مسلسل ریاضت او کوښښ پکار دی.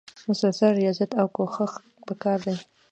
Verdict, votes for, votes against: accepted, 2, 0